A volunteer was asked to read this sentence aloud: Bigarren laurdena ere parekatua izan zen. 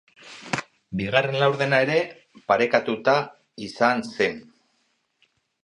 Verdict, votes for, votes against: rejected, 0, 4